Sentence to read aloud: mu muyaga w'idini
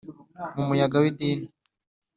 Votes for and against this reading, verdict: 3, 0, accepted